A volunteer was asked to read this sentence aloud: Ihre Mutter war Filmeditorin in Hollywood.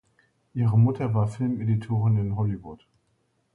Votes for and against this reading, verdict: 2, 0, accepted